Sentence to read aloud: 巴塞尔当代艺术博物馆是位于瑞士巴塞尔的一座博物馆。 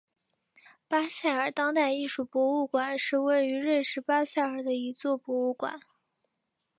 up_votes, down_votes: 4, 0